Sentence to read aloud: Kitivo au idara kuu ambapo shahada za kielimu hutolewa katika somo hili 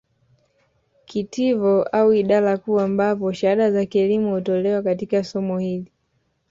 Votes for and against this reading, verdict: 2, 0, accepted